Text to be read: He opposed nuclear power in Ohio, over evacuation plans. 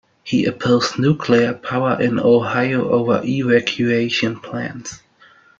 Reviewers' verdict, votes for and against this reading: rejected, 1, 2